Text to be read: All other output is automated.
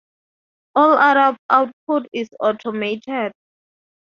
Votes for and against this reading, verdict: 0, 2, rejected